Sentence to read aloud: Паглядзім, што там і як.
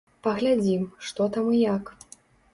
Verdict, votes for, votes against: accepted, 4, 0